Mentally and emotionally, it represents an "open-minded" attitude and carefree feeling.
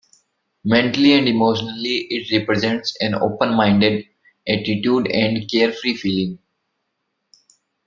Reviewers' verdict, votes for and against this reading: accepted, 2, 0